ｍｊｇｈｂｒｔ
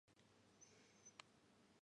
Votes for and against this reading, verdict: 18, 45, rejected